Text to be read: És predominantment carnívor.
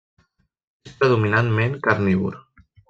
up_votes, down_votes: 1, 2